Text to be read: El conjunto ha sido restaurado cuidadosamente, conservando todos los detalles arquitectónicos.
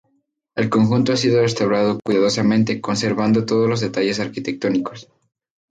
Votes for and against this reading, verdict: 2, 0, accepted